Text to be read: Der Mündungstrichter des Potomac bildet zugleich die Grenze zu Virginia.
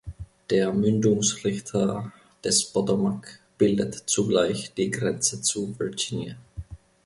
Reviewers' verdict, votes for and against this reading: rejected, 1, 2